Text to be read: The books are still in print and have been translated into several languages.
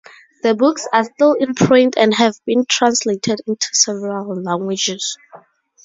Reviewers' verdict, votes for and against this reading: accepted, 4, 0